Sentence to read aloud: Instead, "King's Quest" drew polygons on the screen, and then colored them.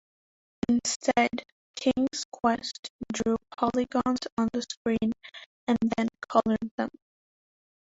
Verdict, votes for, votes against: rejected, 2, 3